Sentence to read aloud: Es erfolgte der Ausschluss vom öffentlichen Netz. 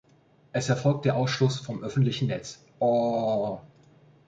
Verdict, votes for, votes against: rejected, 0, 2